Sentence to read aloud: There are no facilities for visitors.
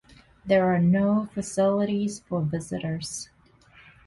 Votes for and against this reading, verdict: 2, 0, accepted